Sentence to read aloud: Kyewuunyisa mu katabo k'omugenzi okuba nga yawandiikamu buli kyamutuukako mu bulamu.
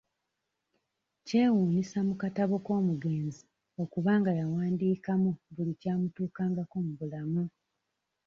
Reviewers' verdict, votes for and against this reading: rejected, 0, 2